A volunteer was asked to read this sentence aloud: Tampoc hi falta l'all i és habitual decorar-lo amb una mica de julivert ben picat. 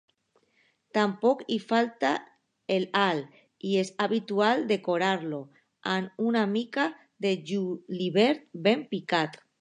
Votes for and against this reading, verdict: 0, 2, rejected